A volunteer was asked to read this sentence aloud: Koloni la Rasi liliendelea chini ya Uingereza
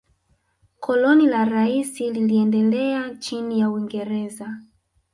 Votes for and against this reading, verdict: 1, 3, rejected